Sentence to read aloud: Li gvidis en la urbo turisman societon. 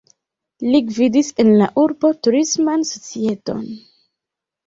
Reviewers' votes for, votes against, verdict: 2, 1, accepted